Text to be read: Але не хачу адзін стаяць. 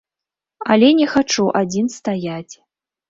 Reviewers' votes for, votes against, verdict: 3, 0, accepted